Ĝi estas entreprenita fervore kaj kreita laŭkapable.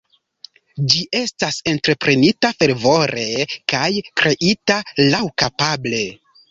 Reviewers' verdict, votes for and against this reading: rejected, 0, 2